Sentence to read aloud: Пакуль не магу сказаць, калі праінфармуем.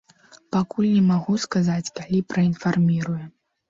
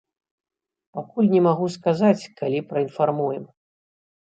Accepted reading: second